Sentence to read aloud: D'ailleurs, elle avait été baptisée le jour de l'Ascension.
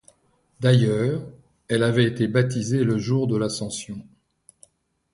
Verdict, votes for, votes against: accepted, 2, 0